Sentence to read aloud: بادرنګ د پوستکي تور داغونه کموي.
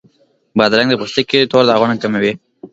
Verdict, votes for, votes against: accepted, 2, 0